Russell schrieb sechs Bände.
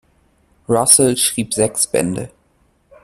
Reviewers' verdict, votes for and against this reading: accepted, 2, 0